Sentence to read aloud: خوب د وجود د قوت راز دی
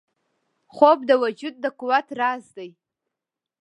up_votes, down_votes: 2, 0